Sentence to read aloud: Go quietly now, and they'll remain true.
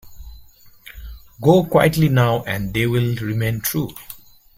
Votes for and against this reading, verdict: 2, 0, accepted